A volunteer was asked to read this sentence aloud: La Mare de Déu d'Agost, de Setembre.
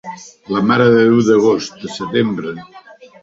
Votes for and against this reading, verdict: 1, 2, rejected